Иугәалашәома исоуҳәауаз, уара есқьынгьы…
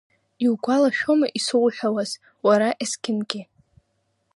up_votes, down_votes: 2, 0